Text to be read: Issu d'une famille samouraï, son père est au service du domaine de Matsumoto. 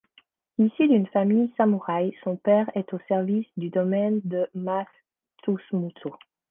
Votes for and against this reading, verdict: 1, 2, rejected